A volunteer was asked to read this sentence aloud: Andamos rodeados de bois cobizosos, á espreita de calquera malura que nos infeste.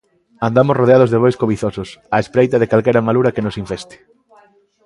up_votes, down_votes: 2, 0